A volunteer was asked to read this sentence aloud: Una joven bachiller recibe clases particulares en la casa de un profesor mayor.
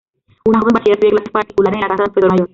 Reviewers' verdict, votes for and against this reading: rejected, 0, 2